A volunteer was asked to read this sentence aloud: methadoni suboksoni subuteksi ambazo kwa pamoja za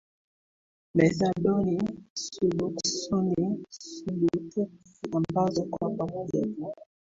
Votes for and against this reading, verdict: 2, 1, accepted